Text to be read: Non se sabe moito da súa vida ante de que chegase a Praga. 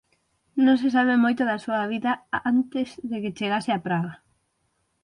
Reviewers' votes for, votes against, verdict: 3, 6, rejected